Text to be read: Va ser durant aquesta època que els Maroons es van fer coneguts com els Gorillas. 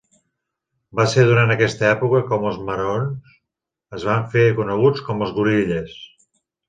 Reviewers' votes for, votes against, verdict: 2, 0, accepted